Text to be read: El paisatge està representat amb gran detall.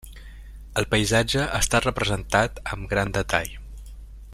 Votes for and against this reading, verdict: 3, 0, accepted